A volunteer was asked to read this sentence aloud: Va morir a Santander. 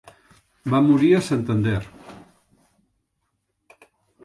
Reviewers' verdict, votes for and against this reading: accepted, 2, 1